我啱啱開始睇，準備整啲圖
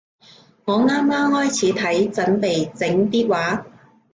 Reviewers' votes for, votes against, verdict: 1, 2, rejected